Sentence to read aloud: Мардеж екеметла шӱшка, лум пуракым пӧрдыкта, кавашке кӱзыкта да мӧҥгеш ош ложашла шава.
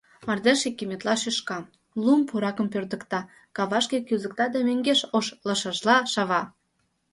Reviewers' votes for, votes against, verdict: 1, 2, rejected